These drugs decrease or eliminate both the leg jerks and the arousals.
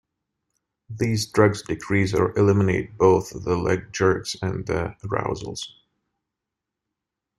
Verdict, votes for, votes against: accepted, 2, 1